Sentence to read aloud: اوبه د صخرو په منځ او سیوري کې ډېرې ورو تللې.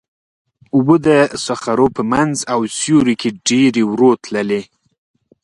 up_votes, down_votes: 2, 0